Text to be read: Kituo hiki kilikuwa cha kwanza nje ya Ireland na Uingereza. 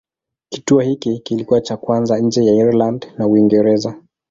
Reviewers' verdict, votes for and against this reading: accepted, 2, 0